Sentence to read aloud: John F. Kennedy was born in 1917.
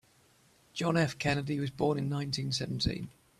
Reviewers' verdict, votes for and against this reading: rejected, 0, 2